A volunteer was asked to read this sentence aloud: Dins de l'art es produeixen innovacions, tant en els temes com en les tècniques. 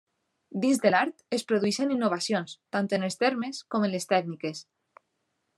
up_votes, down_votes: 0, 2